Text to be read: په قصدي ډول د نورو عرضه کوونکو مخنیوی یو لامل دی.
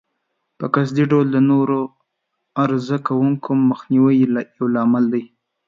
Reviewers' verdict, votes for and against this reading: accepted, 2, 0